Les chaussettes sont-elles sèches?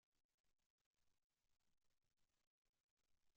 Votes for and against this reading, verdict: 0, 2, rejected